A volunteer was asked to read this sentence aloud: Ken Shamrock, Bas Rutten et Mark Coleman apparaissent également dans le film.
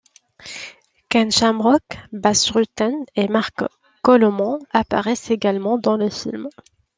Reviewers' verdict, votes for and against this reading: rejected, 0, 3